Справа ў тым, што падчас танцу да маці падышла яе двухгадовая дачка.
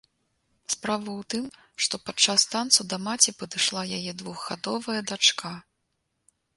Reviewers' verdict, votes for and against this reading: accepted, 3, 0